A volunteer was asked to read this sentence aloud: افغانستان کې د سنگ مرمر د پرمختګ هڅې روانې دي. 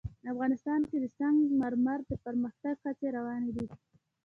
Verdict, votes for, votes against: accepted, 2, 0